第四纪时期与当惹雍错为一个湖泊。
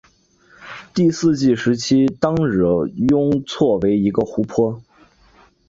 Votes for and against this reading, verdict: 8, 1, accepted